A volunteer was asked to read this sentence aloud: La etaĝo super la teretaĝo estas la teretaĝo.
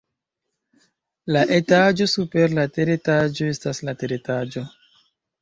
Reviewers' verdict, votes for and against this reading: rejected, 0, 2